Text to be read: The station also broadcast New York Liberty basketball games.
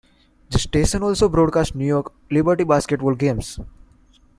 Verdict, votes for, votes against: accepted, 2, 1